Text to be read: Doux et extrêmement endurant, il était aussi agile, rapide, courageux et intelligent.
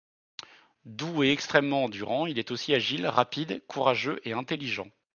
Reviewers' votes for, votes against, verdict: 0, 2, rejected